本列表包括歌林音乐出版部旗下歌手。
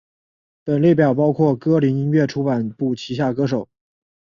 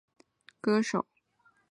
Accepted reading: first